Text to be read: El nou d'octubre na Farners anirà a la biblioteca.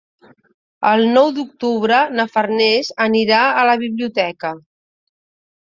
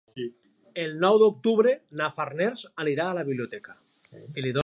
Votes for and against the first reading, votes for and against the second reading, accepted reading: 3, 0, 0, 2, first